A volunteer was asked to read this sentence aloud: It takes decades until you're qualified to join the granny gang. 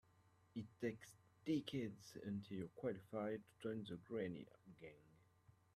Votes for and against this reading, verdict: 1, 2, rejected